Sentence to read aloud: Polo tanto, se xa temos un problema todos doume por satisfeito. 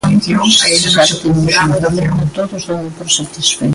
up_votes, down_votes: 0, 2